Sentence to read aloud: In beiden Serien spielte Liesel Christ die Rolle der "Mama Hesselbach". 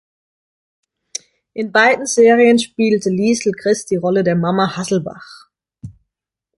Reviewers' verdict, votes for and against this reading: rejected, 1, 2